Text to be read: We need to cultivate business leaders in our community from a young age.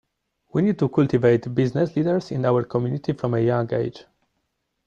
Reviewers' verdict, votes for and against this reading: rejected, 1, 2